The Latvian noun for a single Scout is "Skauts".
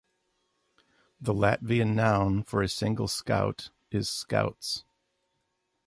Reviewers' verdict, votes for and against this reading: accepted, 2, 0